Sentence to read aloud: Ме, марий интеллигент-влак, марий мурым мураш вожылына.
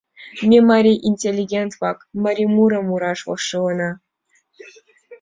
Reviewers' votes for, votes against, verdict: 5, 1, accepted